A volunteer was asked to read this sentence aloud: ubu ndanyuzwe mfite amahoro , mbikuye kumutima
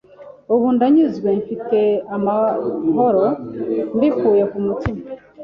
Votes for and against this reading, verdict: 2, 0, accepted